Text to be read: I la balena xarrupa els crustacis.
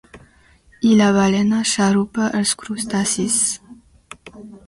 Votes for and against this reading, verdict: 2, 0, accepted